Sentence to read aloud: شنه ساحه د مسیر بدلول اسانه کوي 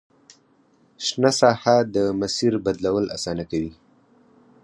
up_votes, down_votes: 4, 0